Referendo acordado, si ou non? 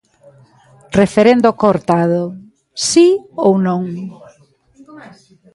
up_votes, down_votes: 0, 2